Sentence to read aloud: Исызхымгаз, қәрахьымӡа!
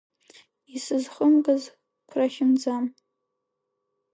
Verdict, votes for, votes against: rejected, 2, 3